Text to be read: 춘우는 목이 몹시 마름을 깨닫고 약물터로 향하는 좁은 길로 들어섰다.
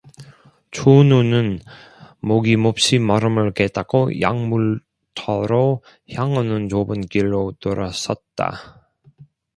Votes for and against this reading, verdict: 2, 0, accepted